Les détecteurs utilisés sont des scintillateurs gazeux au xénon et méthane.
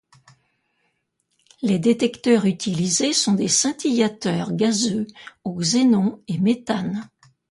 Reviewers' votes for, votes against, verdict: 2, 0, accepted